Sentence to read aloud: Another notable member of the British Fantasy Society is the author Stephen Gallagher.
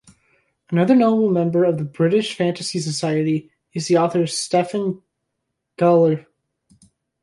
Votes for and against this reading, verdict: 1, 2, rejected